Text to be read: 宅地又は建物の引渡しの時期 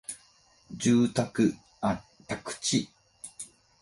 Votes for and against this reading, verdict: 2, 4, rejected